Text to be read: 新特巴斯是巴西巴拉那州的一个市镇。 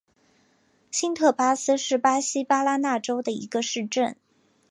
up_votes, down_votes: 2, 0